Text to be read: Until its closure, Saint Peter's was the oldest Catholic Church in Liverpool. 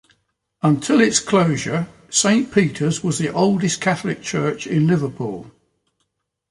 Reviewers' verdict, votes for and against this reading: accepted, 2, 0